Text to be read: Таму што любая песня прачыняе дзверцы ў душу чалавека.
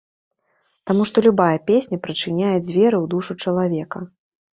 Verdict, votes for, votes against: rejected, 0, 2